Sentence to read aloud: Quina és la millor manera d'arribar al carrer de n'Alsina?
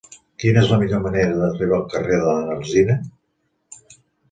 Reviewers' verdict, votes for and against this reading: rejected, 1, 2